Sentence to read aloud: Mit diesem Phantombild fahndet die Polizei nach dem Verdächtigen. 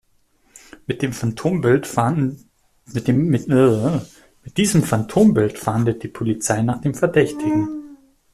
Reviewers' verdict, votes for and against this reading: rejected, 0, 2